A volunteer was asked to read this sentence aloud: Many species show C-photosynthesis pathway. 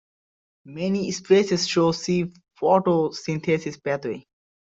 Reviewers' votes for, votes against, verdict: 2, 0, accepted